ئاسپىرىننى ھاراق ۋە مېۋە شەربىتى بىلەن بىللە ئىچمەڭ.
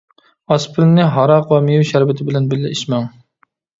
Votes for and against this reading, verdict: 2, 0, accepted